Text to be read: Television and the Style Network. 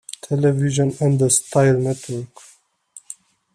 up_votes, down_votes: 2, 1